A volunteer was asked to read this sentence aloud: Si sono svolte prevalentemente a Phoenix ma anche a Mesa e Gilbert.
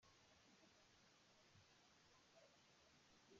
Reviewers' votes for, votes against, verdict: 0, 2, rejected